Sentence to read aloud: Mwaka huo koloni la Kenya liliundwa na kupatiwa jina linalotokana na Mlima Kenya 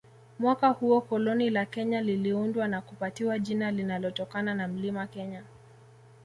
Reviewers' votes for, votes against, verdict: 2, 0, accepted